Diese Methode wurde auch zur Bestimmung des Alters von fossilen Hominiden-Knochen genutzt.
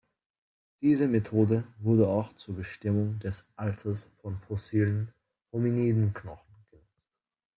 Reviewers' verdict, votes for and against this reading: rejected, 0, 2